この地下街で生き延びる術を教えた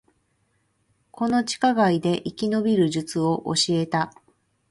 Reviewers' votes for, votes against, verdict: 0, 2, rejected